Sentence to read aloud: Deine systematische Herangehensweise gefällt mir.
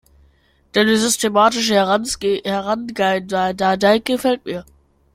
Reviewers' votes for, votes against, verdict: 0, 2, rejected